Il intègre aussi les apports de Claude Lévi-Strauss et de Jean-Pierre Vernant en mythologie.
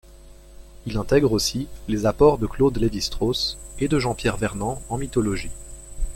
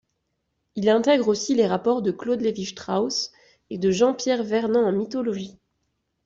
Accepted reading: first